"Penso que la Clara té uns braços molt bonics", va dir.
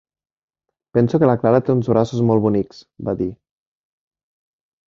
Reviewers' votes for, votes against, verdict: 2, 0, accepted